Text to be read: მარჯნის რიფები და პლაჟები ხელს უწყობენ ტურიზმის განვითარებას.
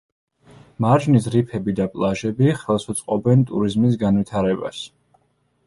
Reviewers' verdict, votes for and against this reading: rejected, 1, 2